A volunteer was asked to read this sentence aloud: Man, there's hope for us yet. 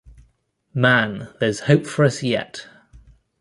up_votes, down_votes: 2, 0